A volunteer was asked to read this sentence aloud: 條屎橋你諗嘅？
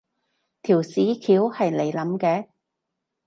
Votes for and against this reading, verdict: 2, 2, rejected